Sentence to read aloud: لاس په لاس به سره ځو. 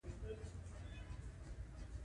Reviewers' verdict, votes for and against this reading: rejected, 0, 2